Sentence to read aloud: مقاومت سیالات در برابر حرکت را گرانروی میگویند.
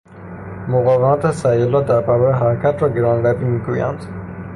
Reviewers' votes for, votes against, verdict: 3, 0, accepted